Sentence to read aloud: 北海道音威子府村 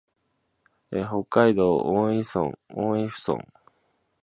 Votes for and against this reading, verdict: 0, 2, rejected